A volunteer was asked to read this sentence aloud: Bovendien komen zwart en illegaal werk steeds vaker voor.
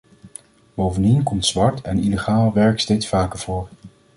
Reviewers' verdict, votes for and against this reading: rejected, 1, 2